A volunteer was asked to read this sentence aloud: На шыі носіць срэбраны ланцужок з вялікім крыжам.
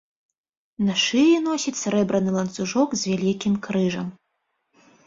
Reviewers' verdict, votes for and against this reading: accepted, 2, 0